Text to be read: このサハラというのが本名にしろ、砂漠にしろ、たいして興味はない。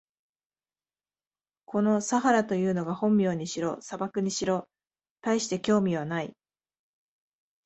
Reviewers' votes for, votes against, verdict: 2, 0, accepted